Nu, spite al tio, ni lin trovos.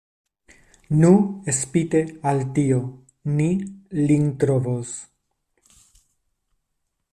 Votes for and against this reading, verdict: 2, 0, accepted